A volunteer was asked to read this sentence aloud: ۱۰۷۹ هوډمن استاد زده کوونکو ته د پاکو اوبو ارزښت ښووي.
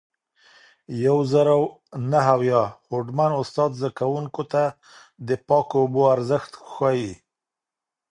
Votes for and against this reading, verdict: 0, 2, rejected